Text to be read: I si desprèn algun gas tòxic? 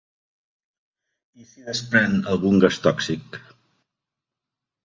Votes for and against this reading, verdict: 0, 2, rejected